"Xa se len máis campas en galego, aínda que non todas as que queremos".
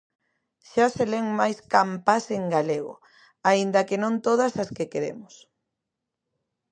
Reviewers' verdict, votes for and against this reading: rejected, 0, 2